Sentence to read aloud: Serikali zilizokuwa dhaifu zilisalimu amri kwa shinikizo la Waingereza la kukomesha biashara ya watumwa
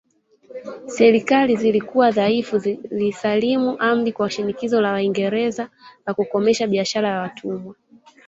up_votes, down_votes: 0, 2